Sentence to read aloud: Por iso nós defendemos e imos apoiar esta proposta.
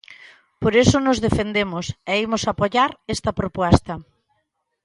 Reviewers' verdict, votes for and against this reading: rejected, 0, 2